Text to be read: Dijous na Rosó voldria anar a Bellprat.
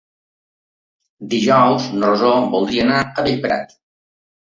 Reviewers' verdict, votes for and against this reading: accepted, 2, 0